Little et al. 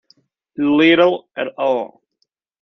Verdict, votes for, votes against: accepted, 2, 0